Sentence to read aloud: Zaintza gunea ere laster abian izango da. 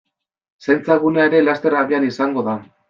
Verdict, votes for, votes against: accepted, 2, 0